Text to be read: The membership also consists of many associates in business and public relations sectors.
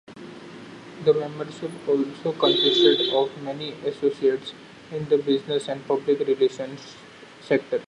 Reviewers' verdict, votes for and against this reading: rejected, 0, 2